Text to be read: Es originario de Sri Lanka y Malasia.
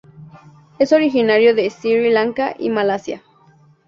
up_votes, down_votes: 4, 0